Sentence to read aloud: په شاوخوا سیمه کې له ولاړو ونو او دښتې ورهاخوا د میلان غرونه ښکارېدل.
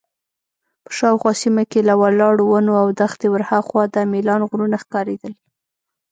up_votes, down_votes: 0, 2